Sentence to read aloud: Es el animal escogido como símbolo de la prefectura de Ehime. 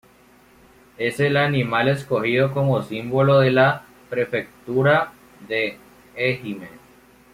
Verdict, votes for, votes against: rejected, 1, 2